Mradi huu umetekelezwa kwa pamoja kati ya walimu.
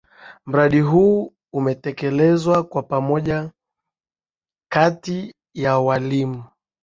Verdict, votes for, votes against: accepted, 2, 0